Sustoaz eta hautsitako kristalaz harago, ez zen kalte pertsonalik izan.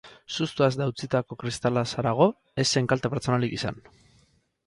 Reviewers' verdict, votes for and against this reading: rejected, 2, 4